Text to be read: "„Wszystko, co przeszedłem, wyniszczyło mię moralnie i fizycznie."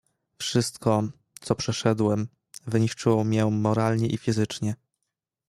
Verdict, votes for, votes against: accepted, 2, 1